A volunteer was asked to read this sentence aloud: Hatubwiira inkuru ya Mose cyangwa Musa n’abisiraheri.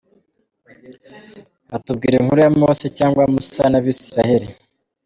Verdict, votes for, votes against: rejected, 1, 2